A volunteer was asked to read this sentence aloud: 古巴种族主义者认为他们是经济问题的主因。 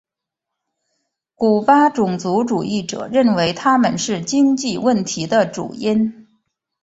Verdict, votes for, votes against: rejected, 1, 2